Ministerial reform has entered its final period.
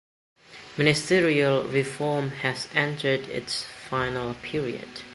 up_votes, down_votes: 2, 0